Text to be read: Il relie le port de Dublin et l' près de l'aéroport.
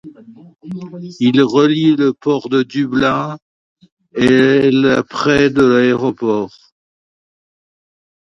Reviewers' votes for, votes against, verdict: 2, 0, accepted